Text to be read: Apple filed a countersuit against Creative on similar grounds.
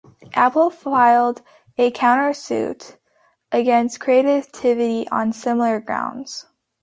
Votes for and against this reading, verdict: 0, 2, rejected